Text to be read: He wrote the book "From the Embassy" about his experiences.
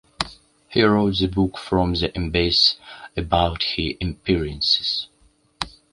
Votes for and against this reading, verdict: 0, 2, rejected